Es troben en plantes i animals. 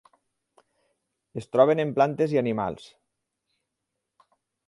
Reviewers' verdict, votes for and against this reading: accepted, 8, 0